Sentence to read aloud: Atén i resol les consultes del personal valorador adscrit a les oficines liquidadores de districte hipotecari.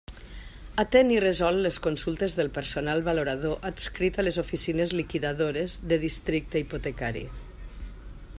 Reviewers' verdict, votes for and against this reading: accepted, 2, 0